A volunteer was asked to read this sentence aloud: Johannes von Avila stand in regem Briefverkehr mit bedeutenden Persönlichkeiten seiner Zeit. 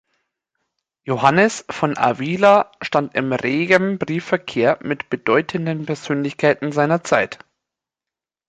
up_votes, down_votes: 2, 1